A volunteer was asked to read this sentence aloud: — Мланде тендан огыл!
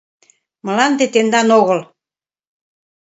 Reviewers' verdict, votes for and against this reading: accepted, 2, 0